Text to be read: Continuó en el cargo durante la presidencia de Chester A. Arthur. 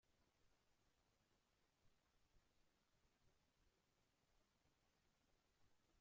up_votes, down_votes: 0, 2